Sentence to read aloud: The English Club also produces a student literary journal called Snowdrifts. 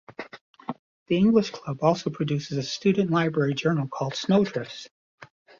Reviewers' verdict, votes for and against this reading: rejected, 1, 2